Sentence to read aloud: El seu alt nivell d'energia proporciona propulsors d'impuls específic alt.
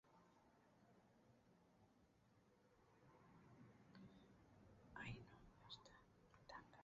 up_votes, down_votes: 0, 2